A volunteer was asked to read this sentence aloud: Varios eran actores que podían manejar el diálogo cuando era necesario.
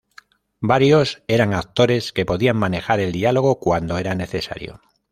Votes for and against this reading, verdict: 2, 0, accepted